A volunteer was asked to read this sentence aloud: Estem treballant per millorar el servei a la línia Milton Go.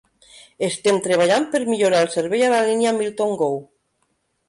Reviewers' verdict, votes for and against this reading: accepted, 2, 0